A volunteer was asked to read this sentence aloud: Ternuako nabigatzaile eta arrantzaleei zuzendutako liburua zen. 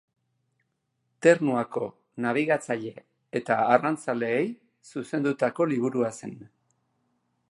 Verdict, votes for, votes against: accepted, 3, 0